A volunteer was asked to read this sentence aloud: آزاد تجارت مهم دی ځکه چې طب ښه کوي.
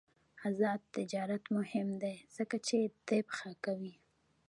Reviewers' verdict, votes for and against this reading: accepted, 2, 1